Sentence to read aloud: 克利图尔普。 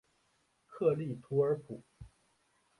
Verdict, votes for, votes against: accepted, 4, 1